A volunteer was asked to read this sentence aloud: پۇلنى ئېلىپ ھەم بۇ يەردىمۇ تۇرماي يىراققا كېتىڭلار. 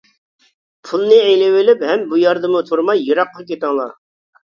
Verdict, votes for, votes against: rejected, 0, 2